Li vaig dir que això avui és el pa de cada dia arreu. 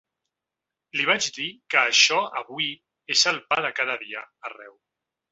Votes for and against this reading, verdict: 3, 0, accepted